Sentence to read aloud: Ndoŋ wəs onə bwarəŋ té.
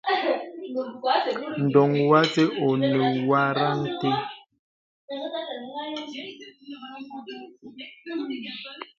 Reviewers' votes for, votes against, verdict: 2, 1, accepted